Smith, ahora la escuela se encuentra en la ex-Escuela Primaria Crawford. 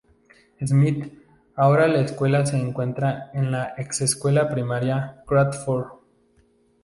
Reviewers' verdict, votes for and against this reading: accepted, 2, 0